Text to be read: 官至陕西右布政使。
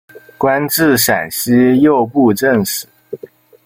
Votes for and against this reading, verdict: 0, 2, rejected